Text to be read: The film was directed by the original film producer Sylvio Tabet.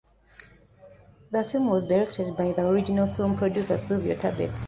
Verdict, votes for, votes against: accepted, 2, 0